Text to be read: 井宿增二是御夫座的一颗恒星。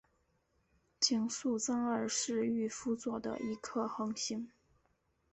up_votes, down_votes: 2, 0